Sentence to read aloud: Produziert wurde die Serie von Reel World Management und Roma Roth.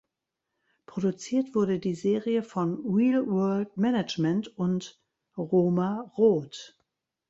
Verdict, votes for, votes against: accepted, 2, 0